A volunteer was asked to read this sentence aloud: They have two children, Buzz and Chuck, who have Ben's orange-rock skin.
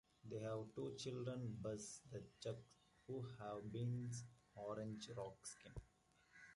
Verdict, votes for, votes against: rejected, 1, 2